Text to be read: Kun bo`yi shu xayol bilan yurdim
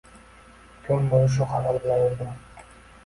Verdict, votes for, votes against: accepted, 2, 0